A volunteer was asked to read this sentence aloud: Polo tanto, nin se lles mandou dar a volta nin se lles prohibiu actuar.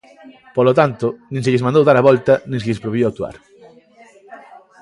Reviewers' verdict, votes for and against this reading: accepted, 2, 0